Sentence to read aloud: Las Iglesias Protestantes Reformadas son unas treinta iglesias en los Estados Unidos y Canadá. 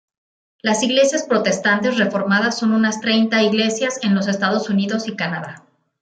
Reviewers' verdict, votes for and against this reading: accepted, 2, 1